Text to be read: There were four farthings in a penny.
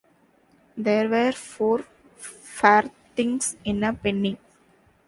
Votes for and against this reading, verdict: 2, 1, accepted